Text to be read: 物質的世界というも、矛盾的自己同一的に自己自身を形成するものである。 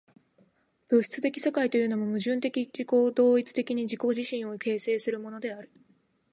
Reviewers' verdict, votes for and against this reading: rejected, 1, 2